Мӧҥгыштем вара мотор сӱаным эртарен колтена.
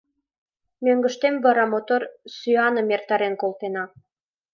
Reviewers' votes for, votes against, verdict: 2, 0, accepted